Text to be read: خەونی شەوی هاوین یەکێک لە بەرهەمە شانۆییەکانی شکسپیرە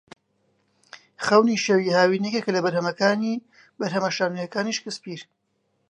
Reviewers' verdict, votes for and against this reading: rejected, 1, 2